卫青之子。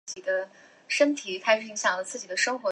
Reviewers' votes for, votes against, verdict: 1, 4, rejected